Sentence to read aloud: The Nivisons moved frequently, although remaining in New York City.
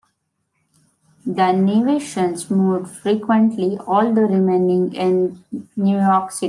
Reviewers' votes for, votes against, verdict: 1, 2, rejected